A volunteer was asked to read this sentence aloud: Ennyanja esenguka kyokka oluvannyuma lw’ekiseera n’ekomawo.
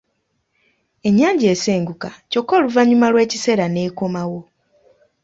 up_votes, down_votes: 3, 0